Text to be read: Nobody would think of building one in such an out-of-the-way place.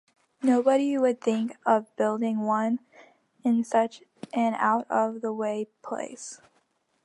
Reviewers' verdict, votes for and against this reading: accepted, 2, 1